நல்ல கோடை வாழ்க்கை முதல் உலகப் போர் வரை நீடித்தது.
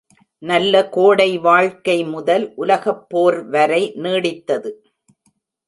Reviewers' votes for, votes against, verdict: 2, 0, accepted